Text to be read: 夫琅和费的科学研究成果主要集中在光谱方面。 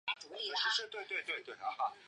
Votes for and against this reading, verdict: 0, 3, rejected